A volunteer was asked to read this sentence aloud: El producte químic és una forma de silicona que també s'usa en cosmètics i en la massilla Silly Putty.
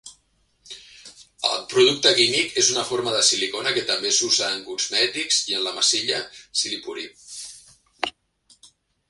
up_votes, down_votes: 2, 1